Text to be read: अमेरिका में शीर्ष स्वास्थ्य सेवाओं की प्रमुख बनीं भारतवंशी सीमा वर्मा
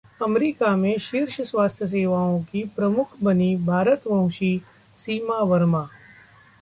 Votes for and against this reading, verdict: 2, 0, accepted